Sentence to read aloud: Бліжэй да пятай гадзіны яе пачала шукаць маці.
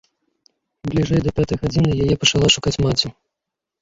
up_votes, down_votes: 2, 0